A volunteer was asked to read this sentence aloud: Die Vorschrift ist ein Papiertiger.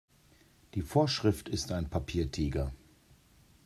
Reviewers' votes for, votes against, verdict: 2, 0, accepted